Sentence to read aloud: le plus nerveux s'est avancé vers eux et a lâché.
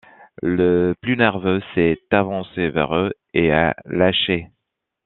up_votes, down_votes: 2, 0